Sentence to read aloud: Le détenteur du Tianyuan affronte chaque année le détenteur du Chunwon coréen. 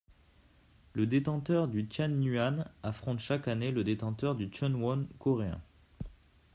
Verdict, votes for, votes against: accepted, 2, 0